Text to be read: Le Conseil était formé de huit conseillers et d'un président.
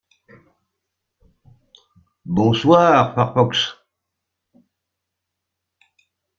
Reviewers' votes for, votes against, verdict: 0, 2, rejected